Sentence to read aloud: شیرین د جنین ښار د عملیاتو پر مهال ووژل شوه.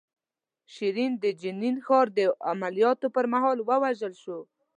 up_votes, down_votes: 2, 0